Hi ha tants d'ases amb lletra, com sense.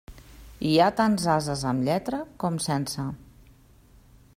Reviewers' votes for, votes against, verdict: 0, 2, rejected